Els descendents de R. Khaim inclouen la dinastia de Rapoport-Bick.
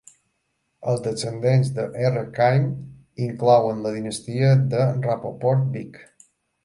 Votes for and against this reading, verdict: 2, 0, accepted